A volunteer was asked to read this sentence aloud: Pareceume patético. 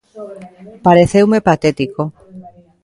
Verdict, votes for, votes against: rejected, 1, 2